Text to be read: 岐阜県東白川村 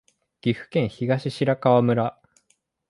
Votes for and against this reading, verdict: 4, 0, accepted